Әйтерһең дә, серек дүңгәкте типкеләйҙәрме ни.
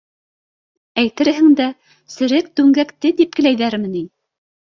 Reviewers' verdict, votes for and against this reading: accepted, 2, 0